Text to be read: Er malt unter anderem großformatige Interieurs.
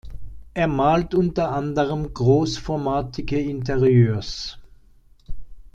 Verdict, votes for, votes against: accepted, 2, 0